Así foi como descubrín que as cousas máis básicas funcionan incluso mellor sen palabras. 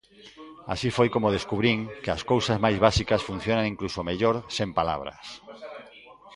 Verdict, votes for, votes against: accepted, 2, 0